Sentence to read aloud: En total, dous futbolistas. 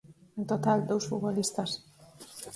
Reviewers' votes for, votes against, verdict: 2, 4, rejected